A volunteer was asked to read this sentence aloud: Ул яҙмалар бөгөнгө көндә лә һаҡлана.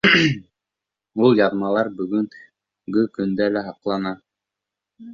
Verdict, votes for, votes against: rejected, 1, 2